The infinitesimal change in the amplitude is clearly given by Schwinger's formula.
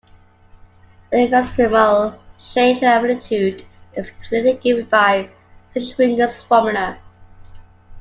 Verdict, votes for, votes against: rejected, 0, 2